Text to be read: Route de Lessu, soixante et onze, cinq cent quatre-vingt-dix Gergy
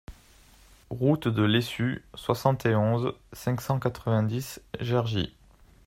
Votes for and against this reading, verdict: 2, 0, accepted